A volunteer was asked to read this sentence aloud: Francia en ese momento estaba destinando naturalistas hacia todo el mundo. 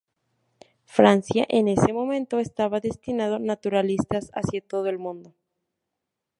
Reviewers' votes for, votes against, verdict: 2, 2, rejected